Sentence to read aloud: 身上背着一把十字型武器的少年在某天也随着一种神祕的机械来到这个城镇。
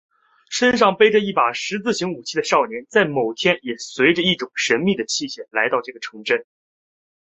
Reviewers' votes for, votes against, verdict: 3, 0, accepted